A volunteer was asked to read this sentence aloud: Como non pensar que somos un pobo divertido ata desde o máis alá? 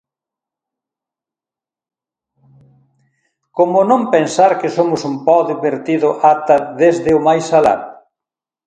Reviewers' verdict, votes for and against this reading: rejected, 0, 2